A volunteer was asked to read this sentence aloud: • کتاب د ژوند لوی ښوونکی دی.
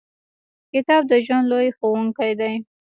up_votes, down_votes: 1, 2